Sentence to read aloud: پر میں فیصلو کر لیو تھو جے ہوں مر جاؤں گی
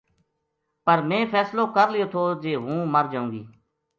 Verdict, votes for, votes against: accepted, 2, 0